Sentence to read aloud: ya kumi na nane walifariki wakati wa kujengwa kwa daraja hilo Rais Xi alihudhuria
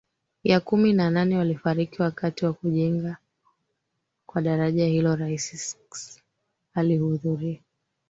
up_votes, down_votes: 1, 2